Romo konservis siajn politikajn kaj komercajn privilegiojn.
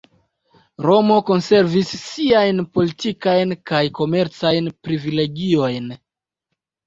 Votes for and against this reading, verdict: 3, 0, accepted